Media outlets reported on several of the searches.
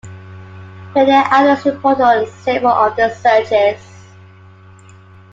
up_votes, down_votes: 0, 2